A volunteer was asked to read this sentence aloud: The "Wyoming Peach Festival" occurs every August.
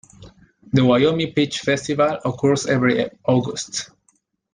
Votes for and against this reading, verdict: 2, 0, accepted